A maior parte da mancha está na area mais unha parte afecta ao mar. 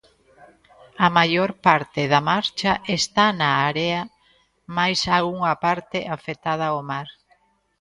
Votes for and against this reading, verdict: 0, 2, rejected